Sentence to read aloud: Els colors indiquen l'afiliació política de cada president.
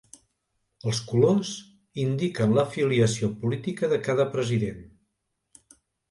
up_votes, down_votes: 2, 0